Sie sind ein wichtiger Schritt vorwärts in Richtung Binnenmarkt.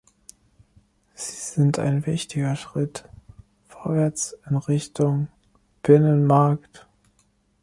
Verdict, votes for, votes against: rejected, 0, 2